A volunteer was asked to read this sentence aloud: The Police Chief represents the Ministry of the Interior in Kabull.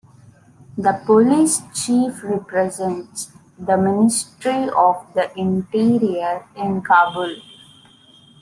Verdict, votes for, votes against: accepted, 2, 1